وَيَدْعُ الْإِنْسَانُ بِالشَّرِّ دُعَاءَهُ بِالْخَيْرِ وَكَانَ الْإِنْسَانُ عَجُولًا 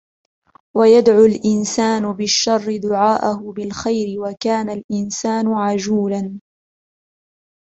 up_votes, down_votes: 2, 0